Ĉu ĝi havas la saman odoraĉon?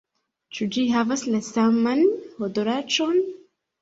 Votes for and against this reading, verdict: 2, 0, accepted